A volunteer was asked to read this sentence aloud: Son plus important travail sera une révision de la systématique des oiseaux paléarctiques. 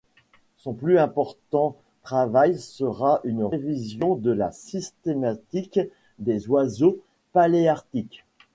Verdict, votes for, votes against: rejected, 0, 2